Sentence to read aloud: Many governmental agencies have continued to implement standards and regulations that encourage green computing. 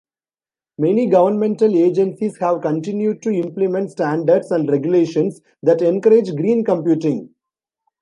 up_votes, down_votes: 2, 0